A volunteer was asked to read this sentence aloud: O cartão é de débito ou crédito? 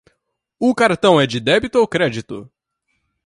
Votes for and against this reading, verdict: 2, 0, accepted